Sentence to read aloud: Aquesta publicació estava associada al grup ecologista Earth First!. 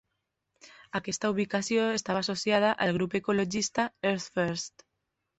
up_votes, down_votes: 0, 2